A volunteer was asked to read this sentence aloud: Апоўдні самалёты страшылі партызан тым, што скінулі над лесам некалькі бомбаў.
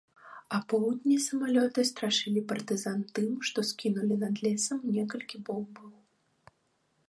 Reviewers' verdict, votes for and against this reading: accepted, 2, 0